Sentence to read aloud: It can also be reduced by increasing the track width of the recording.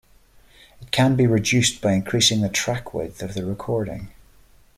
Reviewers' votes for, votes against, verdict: 1, 3, rejected